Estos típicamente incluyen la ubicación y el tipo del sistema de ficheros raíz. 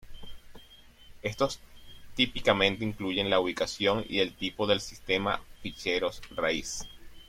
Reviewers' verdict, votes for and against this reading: rejected, 0, 2